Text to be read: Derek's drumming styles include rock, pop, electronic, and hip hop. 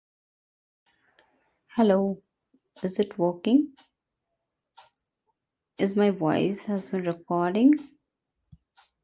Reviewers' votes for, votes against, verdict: 1, 2, rejected